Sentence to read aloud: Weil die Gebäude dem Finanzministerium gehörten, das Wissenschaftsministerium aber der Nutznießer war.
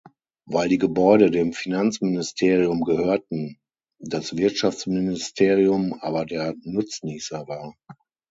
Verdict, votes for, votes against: rejected, 3, 6